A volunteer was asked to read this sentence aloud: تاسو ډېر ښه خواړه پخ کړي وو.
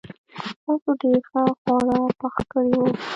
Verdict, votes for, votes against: rejected, 0, 2